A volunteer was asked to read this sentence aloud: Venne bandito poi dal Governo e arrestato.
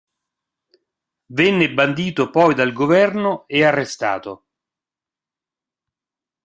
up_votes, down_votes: 4, 0